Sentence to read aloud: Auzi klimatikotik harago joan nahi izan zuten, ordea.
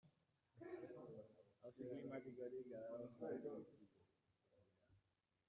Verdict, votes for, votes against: rejected, 0, 2